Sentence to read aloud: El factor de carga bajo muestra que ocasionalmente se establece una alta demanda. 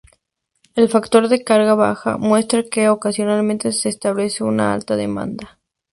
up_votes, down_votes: 0, 2